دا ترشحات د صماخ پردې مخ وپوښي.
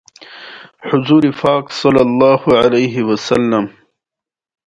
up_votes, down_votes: 0, 2